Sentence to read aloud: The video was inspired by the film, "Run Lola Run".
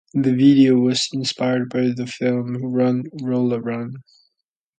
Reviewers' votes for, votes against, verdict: 2, 0, accepted